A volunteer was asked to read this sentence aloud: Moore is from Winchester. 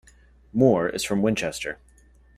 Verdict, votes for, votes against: accepted, 2, 0